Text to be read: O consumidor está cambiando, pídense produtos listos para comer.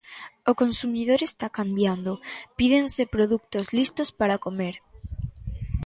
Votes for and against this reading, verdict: 2, 0, accepted